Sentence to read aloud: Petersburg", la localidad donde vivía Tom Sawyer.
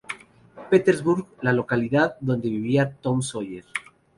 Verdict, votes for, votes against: accepted, 2, 0